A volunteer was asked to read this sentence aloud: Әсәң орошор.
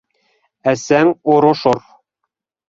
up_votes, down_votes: 1, 2